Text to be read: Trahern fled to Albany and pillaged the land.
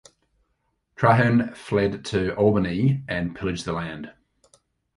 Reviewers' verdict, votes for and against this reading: accepted, 2, 0